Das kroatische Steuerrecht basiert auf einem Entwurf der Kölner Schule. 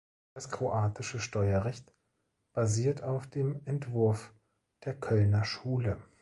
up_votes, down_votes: 0, 2